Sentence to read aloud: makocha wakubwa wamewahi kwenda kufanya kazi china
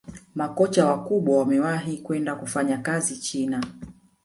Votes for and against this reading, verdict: 0, 2, rejected